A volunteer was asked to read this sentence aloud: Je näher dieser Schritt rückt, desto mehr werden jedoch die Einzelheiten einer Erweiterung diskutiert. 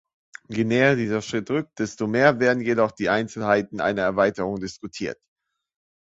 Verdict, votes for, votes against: accepted, 2, 0